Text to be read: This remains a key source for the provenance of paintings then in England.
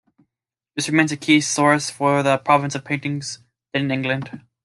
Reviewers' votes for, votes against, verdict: 0, 2, rejected